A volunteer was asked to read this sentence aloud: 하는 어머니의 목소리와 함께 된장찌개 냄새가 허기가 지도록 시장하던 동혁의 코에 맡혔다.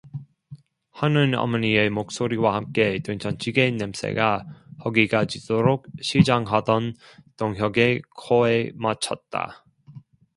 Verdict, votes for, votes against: accepted, 2, 1